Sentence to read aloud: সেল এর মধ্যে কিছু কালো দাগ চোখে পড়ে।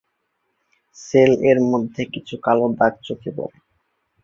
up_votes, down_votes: 4, 0